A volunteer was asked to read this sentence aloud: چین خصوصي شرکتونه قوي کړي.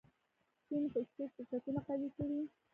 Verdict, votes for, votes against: rejected, 0, 2